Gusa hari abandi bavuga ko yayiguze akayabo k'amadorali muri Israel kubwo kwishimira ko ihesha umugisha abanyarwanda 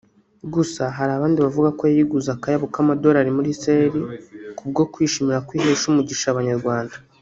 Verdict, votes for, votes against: rejected, 1, 2